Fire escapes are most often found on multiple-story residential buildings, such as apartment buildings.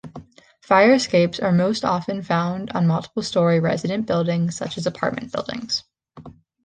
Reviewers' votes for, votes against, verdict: 0, 2, rejected